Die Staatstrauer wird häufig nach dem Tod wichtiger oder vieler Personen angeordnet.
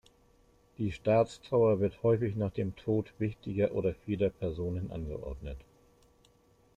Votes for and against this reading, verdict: 2, 0, accepted